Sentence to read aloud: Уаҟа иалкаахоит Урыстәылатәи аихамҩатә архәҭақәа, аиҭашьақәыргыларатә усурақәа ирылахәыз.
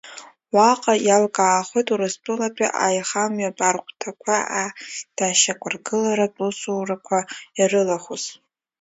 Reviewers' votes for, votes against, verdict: 1, 2, rejected